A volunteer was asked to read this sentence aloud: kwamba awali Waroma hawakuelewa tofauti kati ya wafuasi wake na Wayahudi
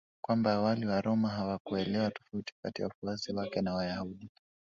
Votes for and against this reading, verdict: 1, 2, rejected